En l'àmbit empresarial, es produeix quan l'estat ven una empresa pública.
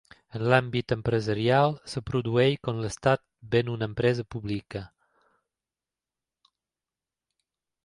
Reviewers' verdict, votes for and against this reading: rejected, 1, 2